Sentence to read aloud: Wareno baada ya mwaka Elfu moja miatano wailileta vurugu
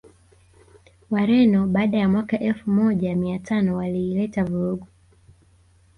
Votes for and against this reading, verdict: 2, 0, accepted